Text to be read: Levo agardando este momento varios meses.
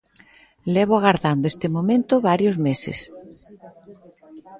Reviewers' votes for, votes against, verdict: 2, 0, accepted